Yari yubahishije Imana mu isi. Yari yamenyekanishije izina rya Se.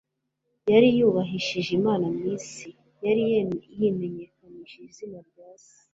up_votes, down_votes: 1, 2